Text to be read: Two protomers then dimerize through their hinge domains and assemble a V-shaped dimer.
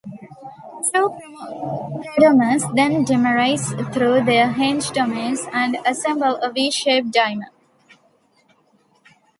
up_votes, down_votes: 1, 2